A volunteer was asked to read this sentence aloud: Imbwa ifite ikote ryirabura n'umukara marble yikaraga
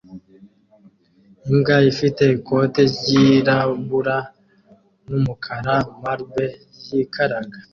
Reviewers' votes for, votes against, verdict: 2, 0, accepted